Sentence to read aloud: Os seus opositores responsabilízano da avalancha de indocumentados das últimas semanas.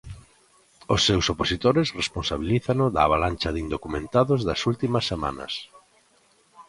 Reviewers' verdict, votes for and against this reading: accepted, 2, 0